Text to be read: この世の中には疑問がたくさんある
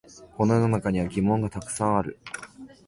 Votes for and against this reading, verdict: 9, 1, accepted